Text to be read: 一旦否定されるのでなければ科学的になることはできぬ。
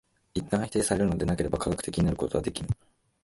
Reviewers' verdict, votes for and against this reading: accepted, 2, 0